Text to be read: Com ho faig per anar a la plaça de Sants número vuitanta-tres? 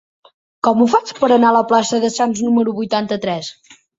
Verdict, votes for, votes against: accepted, 4, 0